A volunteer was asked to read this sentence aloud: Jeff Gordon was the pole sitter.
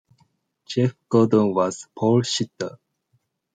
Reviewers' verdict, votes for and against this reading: rejected, 0, 2